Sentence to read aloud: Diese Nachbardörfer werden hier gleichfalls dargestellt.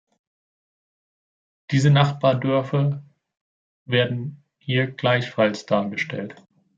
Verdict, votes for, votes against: accepted, 2, 0